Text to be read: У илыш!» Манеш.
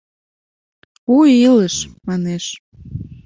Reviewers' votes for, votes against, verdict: 2, 0, accepted